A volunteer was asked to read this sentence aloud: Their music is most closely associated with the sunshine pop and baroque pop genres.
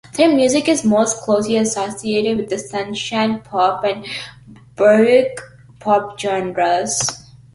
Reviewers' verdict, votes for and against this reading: accepted, 2, 0